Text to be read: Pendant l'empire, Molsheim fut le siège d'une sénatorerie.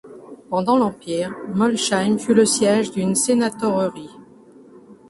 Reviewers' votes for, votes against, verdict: 2, 0, accepted